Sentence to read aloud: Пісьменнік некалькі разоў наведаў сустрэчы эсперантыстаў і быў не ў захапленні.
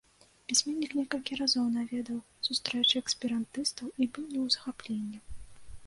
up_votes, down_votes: 0, 2